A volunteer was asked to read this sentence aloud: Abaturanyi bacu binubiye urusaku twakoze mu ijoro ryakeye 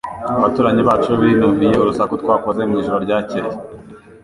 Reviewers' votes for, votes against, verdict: 3, 1, accepted